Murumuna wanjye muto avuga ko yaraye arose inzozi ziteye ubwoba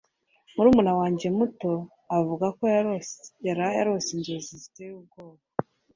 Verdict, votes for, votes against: accepted, 2, 1